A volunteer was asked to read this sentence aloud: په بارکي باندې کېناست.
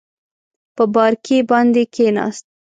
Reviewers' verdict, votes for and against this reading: accepted, 2, 0